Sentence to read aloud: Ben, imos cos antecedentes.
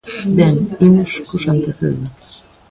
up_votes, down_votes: 1, 2